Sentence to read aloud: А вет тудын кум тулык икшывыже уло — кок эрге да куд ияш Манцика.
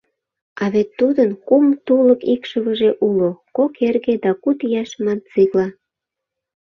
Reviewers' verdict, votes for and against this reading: rejected, 0, 2